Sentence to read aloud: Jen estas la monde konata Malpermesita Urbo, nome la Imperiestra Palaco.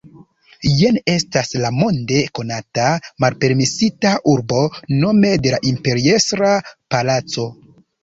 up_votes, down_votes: 2, 0